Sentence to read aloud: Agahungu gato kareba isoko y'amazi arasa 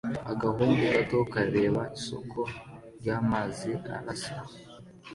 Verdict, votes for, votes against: accepted, 2, 0